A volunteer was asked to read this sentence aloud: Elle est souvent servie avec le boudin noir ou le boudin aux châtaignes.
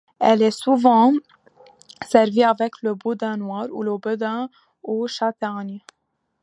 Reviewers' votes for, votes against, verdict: 0, 2, rejected